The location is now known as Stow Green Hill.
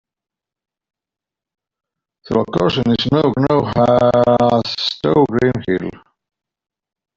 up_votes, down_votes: 1, 2